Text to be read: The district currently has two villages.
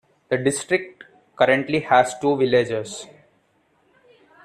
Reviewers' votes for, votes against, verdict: 2, 1, accepted